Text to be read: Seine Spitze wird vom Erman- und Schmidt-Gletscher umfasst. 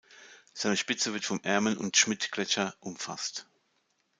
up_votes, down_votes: 2, 0